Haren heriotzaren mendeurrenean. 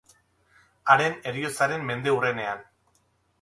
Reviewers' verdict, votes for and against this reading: accepted, 10, 0